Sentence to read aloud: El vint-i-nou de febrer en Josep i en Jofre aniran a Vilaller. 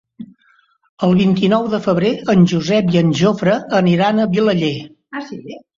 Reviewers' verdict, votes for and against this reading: rejected, 0, 2